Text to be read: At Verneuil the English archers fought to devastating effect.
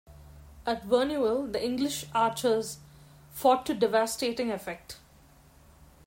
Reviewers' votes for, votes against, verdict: 1, 2, rejected